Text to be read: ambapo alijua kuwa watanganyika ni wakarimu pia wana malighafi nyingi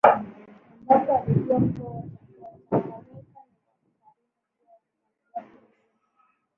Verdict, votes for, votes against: rejected, 0, 2